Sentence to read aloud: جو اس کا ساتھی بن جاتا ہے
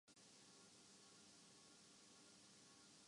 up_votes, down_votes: 0, 2